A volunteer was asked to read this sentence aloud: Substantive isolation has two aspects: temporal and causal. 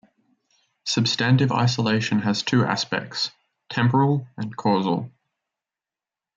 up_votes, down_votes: 0, 2